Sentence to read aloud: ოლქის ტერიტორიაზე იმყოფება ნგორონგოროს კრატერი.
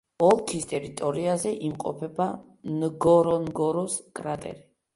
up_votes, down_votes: 2, 0